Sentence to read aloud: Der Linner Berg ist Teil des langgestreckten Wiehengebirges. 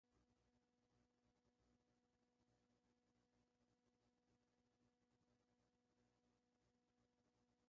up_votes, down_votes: 0, 2